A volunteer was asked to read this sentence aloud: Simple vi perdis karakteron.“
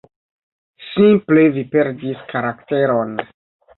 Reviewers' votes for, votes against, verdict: 2, 0, accepted